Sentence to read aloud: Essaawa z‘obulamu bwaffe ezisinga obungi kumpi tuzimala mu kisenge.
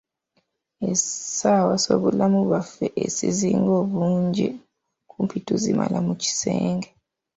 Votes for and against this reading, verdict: 0, 2, rejected